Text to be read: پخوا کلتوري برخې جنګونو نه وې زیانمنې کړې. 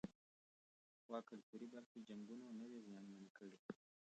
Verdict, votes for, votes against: rejected, 0, 2